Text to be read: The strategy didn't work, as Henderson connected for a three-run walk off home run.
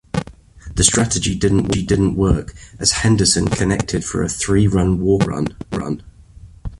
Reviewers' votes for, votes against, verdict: 0, 2, rejected